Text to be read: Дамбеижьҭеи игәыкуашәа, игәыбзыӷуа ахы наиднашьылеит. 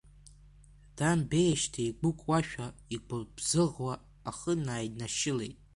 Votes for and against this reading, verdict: 3, 2, accepted